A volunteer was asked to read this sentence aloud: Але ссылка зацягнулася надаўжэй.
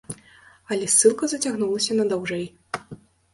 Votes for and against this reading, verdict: 2, 0, accepted